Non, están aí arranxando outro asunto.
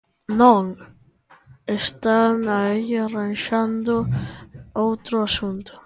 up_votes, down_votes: 1, 2